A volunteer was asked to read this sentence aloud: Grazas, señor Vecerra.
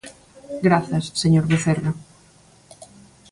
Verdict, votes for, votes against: accepted, 2, 0